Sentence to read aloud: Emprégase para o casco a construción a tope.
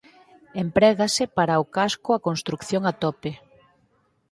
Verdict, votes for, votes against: rejected, 2, 4